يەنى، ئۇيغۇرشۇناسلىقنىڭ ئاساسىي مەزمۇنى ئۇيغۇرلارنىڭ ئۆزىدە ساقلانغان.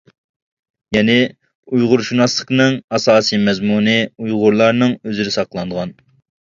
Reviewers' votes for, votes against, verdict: 2, 0, accepted